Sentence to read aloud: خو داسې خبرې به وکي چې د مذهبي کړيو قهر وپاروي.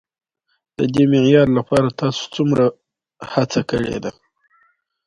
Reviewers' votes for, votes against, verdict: 2, 0, accepted